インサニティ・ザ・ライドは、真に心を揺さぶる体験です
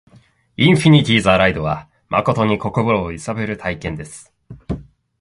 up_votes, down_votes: 1, 2